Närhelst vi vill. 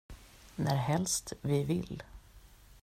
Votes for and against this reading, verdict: 2, 0, accepted